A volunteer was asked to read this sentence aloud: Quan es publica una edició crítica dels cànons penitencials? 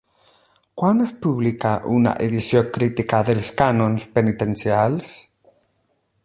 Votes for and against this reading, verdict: 4, 8, rejected